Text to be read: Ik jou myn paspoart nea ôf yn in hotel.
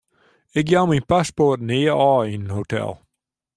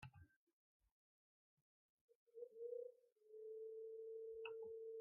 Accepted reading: first